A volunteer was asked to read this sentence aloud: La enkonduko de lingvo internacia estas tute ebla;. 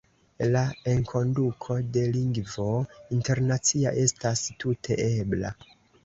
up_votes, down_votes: 2, 1